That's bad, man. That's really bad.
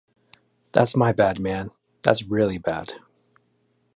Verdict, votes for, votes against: rejected, 1, 2